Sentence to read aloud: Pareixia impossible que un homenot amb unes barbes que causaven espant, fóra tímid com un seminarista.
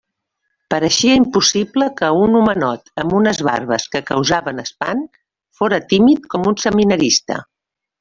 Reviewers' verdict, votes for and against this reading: accepted, 2, 0